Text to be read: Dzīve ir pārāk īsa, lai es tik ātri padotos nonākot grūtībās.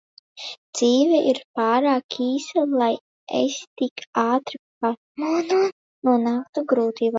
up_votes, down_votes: 1, 2